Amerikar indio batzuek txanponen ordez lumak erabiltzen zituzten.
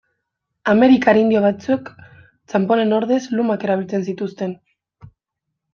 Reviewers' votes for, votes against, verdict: 0, 2, rejected